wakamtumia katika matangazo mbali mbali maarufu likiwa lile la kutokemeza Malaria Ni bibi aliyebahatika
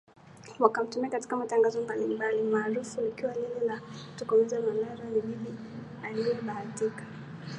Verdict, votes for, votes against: accepted, 2, 0